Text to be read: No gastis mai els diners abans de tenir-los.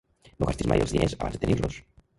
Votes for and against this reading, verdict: 0, 2, rejected